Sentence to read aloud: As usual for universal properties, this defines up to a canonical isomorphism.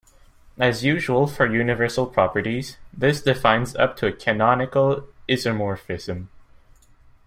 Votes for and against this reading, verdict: 0, 2, rejected